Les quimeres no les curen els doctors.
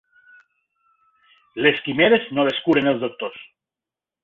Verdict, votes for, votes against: accepted, 2, 0